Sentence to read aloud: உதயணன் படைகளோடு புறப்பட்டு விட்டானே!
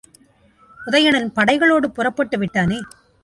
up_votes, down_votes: 2, 0